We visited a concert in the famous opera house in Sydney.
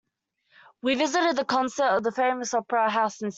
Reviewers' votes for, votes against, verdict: 2, 1, accepted